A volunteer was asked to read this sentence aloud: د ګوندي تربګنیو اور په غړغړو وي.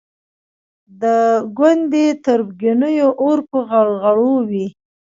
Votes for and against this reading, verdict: 1, 2, rejected